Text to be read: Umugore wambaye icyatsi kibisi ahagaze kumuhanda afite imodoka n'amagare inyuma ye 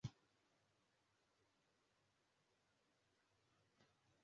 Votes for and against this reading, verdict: 0, 2, rejected